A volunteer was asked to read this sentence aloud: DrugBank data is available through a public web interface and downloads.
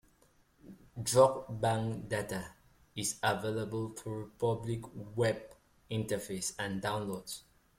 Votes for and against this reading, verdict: 0, 2, rejected